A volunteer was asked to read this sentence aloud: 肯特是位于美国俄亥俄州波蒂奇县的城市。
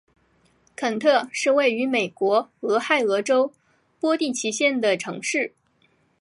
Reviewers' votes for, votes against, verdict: 2, 0, accepted